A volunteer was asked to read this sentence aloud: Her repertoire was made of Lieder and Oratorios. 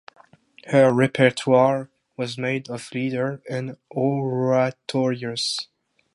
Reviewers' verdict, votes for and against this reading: rejected, 0, 2